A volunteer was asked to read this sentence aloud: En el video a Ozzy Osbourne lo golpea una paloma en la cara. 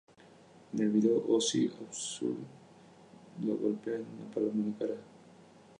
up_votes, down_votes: 2, 0